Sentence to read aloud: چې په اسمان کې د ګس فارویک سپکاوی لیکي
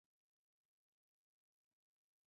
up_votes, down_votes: 0, 4